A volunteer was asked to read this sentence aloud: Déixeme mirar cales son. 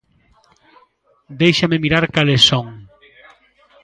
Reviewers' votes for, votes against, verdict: 2, 0, accepted